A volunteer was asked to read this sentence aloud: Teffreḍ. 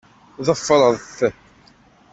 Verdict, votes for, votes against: rejected, 1, 2